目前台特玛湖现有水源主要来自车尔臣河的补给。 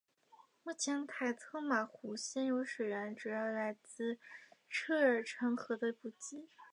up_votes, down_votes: 1, 2